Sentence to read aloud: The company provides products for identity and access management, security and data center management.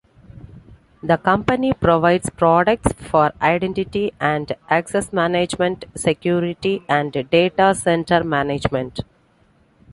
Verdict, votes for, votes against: accepted, 2, 1